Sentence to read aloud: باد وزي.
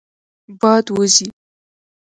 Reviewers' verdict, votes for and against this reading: rejected, 1, 2